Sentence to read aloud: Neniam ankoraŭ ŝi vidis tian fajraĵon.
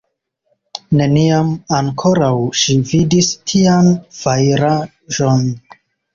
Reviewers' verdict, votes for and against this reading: rejected, 0, 2